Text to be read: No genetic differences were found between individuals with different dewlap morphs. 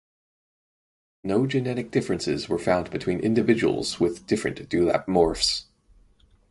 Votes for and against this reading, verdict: 4, 0, accepted